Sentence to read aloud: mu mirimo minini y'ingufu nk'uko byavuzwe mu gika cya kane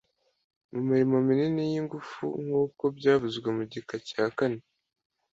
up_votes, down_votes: 2, 0